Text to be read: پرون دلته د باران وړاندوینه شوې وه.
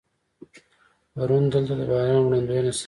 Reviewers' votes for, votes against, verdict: 2, 0, accepted